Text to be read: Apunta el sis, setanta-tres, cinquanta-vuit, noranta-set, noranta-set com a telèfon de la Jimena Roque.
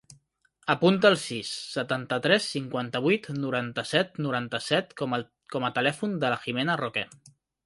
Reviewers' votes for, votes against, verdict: 0, 2, rejected